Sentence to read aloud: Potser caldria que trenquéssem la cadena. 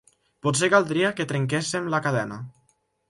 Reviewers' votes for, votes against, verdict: 3, 0, accepted